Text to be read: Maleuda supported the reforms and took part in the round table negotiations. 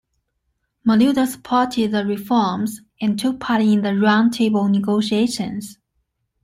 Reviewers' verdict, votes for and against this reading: accepted, 2, 0